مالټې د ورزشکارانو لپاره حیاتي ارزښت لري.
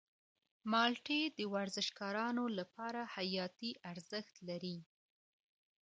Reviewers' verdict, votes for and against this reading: rejected, 0, 2